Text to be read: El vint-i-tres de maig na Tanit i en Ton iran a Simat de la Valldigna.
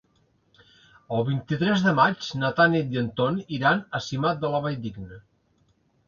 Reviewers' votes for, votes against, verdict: 3, 0, accepted